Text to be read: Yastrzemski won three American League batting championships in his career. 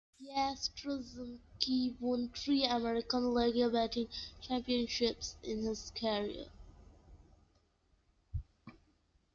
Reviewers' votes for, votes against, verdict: 0, 2, rejected